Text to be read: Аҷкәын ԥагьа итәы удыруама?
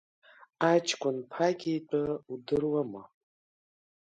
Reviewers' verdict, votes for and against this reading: accepted, 2, 0